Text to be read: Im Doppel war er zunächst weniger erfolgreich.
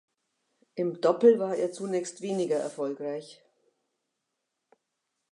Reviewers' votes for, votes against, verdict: 2, 0, accepted